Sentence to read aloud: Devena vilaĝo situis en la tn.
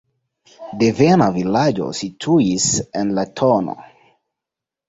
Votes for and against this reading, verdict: 2, 0, accepted